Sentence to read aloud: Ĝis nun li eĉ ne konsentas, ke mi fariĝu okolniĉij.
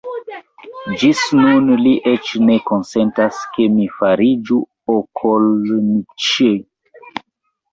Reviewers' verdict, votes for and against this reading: rejected, 0, 2